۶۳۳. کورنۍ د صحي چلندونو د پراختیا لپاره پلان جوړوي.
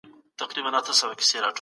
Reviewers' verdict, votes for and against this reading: rejected, 0, 2